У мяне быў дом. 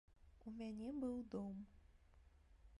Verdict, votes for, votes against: rejected, 0, 2